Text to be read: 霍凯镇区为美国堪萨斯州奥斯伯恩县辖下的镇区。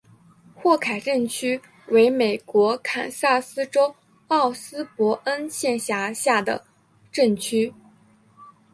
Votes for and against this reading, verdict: 3, 0, accepted